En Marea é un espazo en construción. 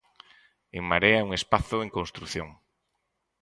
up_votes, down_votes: 4, 0